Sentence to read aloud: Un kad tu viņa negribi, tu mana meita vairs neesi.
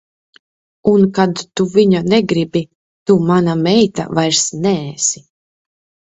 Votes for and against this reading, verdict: 2, 0, accepted